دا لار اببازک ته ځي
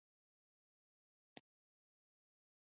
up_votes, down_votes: 0, 2